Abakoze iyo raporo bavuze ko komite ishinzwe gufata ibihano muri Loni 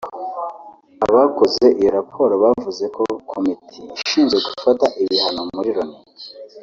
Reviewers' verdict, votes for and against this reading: rejected, 1, 2